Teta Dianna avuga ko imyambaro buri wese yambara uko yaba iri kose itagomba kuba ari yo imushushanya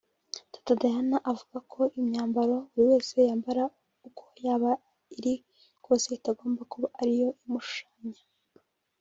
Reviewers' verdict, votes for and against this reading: rejected, 1, 2